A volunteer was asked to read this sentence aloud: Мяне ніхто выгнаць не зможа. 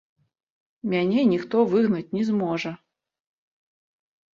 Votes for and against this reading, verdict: 1, 2, rejected